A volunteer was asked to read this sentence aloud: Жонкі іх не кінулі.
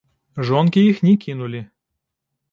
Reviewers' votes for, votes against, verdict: 1, 2, rejected